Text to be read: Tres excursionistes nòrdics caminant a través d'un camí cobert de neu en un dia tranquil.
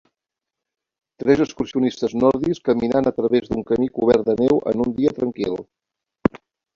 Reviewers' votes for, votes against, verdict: 1, 2, rejected